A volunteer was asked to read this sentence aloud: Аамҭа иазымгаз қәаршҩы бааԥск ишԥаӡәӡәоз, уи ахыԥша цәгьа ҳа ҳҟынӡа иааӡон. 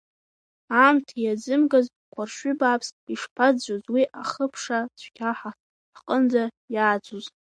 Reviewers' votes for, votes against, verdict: 2, 0, accepted